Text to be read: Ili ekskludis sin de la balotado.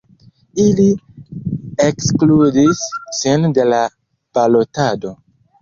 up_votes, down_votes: 1, 2